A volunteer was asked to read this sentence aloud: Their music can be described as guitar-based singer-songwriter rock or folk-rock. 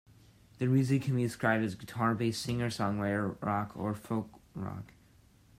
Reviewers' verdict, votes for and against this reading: accepted, 2, 0